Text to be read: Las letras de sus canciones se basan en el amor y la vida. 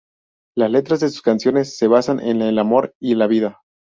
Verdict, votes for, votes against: rejected, 0, 2